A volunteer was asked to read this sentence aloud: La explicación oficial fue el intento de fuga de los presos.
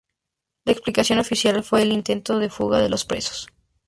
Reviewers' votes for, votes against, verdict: 0, 2, rejected